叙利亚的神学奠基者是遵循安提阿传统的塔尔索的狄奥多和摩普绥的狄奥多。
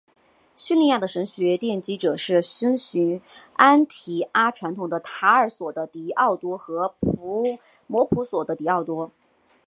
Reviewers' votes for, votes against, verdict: 2, 0, accepted